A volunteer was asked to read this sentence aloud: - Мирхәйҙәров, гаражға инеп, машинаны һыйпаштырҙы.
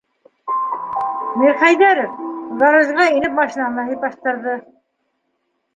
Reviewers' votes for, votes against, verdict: 2, 1, accepted